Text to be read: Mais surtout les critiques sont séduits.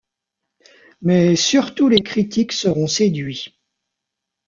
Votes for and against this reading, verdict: 0, 2, rejected